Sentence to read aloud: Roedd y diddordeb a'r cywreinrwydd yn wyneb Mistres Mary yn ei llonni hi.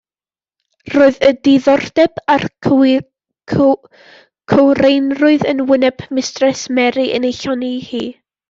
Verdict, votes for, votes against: accepted, 2, 0